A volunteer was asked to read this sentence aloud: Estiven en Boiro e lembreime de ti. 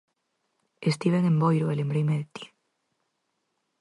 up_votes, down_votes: 4, 0